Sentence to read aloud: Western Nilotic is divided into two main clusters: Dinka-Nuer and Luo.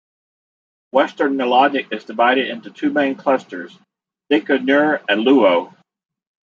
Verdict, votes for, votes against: rejected, 1, 2